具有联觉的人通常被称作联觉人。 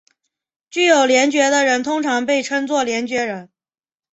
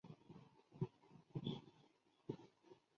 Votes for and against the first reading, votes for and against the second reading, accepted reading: 2, 0, 1, 3, first